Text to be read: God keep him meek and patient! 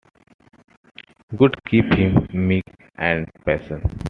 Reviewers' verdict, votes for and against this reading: rejected, 0, 2